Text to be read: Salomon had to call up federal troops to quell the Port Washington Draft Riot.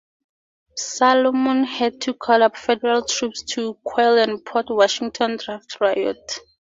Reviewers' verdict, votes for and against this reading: rejected, 2, 2